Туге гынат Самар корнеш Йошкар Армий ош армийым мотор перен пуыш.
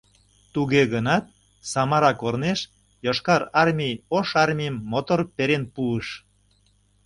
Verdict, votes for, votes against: rejected, 0, 2